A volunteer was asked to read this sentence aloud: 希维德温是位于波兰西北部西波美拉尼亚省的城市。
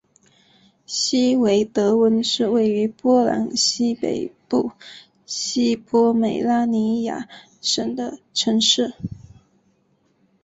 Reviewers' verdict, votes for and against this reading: accepted, 4, 0